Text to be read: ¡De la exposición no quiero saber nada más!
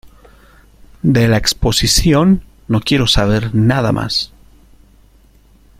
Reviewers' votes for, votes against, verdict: 2, 0, accepted